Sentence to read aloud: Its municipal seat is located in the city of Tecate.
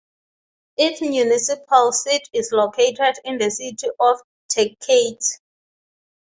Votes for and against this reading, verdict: 6, 0, accepted